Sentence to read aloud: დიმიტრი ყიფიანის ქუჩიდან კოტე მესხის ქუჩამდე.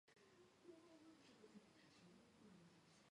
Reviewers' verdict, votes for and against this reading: rejected, 1, 2